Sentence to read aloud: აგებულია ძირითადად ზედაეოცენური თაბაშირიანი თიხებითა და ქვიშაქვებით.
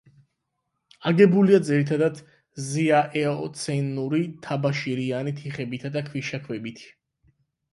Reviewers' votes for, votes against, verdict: 4, 8, rejected